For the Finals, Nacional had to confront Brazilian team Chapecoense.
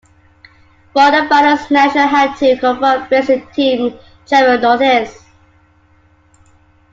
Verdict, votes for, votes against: rejected, 0, 2